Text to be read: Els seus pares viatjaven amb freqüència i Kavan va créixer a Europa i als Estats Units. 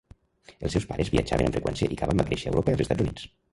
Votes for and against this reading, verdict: 0, 2, rejected